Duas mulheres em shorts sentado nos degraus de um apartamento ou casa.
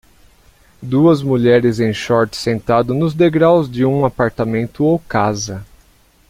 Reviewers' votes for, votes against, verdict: 2, 0, accepted